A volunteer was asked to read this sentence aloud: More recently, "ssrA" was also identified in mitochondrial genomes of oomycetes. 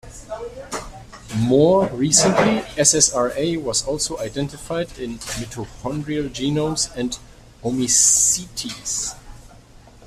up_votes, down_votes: 0, 2